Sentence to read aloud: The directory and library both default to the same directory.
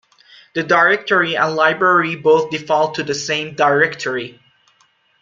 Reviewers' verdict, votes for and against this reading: accepted, 2, 0